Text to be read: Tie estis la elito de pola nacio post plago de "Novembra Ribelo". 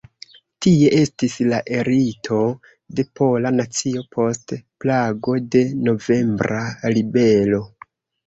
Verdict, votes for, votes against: rejected, 0, 2